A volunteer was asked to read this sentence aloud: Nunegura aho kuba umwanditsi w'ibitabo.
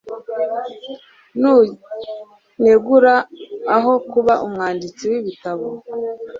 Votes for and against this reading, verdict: 2, 0, accepted